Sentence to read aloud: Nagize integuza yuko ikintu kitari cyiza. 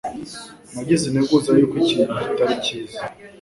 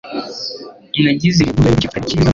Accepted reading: first